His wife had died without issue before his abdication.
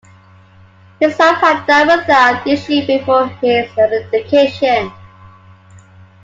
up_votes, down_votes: 2, 1